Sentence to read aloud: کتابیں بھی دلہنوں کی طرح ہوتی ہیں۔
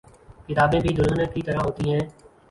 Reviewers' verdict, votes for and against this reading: rejected, 0, 2